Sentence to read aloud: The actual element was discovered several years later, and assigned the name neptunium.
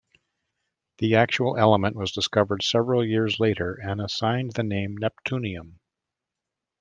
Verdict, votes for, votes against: accepted, 2, 0